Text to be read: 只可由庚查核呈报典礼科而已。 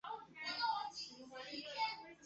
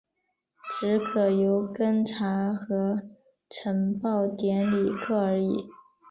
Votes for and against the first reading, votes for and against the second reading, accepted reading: 0, 2, 6, 0, second